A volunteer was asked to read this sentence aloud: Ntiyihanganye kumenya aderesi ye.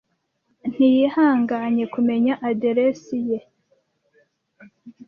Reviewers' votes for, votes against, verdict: 2, 0, accepted